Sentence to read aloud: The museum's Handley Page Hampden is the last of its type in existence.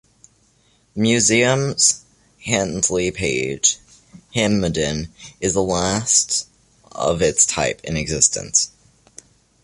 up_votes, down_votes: 3, 2